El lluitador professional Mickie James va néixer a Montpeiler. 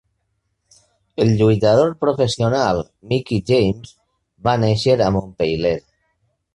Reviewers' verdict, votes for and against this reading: accepted, 2, 0